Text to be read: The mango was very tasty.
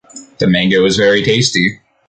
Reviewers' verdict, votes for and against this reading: accepted, 2, 0